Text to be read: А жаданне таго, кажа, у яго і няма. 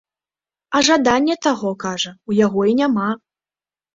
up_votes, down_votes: 3, 0